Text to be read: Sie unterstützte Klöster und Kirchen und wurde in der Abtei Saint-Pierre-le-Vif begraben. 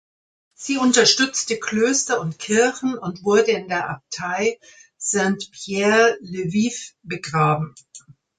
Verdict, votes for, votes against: rejected, 1, 2